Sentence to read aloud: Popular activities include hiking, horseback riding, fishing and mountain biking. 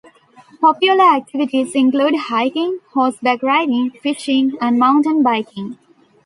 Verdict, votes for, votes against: accepted, 2, 0